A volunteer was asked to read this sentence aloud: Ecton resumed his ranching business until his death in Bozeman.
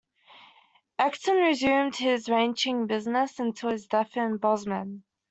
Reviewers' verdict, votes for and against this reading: accepted, 2, 0